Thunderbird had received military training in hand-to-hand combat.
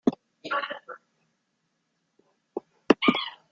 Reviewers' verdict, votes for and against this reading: rejected, 0, 2